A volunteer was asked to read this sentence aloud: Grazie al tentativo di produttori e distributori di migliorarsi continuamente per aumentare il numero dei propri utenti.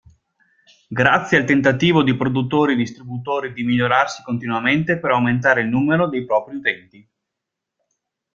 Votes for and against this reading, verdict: 2, 0, accepted